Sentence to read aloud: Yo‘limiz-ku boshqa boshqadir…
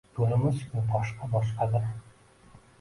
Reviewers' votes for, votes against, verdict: 0, 2, rejected